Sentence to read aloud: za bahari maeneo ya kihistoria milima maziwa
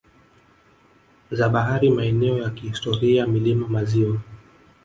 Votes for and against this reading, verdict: 2, 0, accepted